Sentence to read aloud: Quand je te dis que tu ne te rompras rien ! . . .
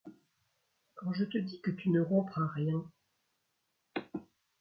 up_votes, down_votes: 1, 2